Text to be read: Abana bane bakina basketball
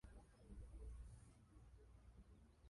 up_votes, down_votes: 0, 2